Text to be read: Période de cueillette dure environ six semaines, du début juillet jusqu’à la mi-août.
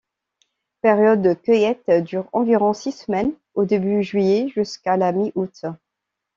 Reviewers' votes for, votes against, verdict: 1, 2, rejected